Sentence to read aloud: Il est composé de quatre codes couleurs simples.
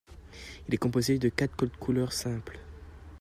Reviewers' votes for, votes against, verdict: 1, 2, rejected